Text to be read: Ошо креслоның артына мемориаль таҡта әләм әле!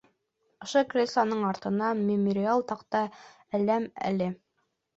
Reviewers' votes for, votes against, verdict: 2, 1, accepted